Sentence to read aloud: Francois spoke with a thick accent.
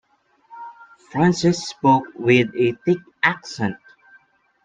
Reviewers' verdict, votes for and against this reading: rejected, 0, 2